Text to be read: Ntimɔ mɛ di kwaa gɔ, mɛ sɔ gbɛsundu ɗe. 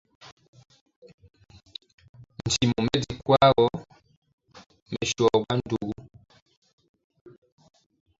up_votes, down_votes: 0, 2